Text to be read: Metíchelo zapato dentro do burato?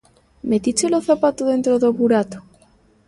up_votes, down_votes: 2, 0